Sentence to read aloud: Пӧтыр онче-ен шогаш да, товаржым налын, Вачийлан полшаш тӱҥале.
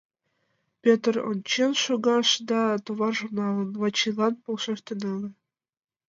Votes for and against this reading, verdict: 1, 5, rejected